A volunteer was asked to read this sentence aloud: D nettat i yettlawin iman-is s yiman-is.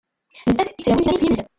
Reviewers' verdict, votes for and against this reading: rejected, 0, 2